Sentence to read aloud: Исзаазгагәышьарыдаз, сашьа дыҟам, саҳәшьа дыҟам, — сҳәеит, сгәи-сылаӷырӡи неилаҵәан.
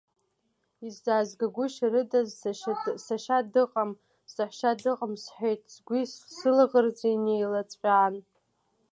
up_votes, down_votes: 0, 2